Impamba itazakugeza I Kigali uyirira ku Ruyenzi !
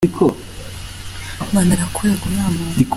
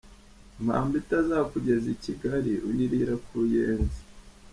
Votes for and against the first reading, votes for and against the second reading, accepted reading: 0, 2, 2, 0, second